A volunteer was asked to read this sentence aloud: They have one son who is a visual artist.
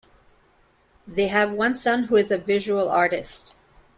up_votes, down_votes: 2, 0